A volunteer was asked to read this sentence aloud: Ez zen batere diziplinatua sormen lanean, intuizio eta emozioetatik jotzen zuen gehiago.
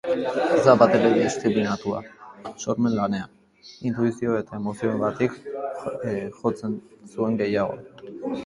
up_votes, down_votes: 0, 2